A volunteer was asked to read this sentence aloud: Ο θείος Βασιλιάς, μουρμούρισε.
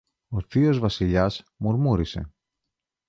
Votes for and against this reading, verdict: 2, 0, accepted